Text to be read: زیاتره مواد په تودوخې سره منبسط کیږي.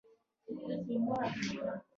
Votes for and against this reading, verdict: 2, 1, accepted